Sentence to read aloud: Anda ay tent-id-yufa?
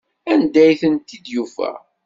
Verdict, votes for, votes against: accepted, 2, 0